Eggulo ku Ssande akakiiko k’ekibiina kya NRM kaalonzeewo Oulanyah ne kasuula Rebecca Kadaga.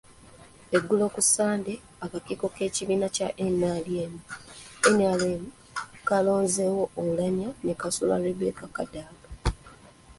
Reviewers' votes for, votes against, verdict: 1, 2, rejected